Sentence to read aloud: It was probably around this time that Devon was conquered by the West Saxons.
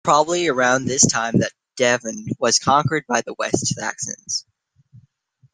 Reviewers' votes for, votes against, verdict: 3, 1, accepted